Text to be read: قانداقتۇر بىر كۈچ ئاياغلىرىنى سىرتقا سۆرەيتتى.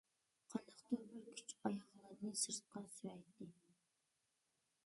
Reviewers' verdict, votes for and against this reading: rejected, 1, 2